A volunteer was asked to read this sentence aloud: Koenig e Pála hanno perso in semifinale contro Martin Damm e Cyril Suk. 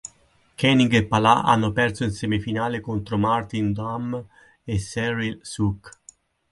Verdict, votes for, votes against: accepted, 4, 0